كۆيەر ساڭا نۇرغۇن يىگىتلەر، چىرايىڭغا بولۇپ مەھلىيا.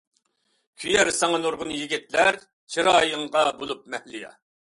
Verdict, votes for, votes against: accepted, 2, 0